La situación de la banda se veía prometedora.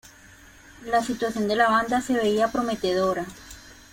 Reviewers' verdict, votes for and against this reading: accepted, 2, 0